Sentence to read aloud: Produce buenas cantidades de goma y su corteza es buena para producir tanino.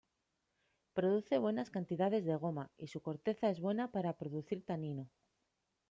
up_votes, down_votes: 2, 0